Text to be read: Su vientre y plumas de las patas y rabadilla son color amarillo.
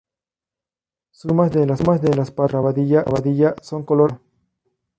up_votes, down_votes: 0, 2